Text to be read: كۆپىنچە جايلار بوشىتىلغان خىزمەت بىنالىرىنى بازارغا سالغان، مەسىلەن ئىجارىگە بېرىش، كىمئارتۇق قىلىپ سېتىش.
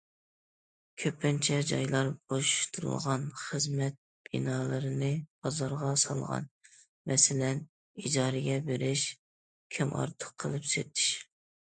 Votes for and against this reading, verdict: 2, 0, accepted